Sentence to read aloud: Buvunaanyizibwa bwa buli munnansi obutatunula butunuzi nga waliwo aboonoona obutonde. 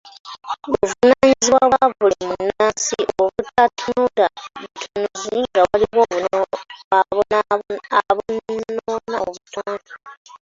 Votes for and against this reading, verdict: 1, 2, rejected